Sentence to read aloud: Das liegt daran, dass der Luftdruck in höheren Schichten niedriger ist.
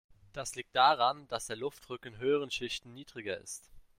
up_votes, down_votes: 2, 1